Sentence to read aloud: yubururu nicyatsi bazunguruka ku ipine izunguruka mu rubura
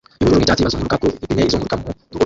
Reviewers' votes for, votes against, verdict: 0, 2, rejected